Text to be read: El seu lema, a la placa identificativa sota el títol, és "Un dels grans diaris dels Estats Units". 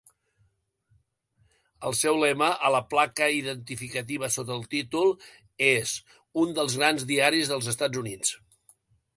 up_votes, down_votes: 2, 0